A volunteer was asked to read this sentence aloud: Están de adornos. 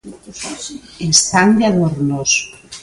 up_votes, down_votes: 2, 0